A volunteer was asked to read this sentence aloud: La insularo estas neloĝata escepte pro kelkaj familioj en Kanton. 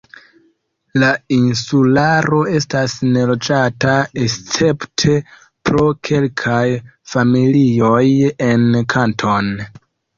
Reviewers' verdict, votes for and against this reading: rejected, 1, 2